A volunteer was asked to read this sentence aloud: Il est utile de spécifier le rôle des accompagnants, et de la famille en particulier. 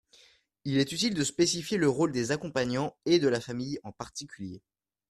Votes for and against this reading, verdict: 2, 0, accepted